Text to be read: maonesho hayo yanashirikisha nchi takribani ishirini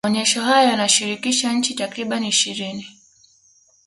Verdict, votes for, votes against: accepted, 2, 0